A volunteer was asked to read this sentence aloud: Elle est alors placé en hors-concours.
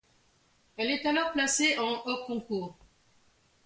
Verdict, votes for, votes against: rejected, 0, 2